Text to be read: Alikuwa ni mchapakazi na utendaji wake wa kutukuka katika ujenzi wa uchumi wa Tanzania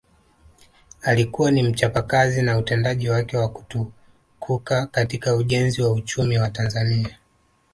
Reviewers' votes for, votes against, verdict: 2, 1, accepted